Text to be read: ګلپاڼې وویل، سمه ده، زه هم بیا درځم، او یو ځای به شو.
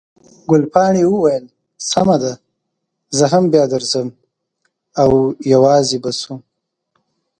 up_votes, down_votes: 1, 2